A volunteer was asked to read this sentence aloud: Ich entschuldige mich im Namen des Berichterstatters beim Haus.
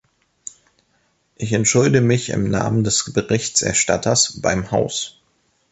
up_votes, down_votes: 0, 2